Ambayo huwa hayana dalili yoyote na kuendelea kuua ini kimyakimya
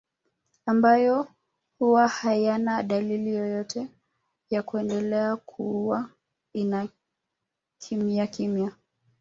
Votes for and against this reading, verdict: 1, 3, rejected